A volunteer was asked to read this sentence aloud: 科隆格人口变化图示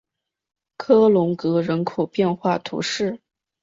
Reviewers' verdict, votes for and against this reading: accepted, 2, 0